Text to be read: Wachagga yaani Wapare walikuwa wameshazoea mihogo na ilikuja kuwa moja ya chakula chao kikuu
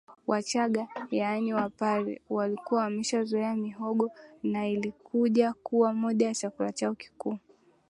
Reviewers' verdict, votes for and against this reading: accepted, 2, 0